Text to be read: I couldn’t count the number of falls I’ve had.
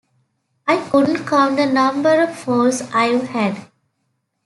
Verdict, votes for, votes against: accepted, 2, 0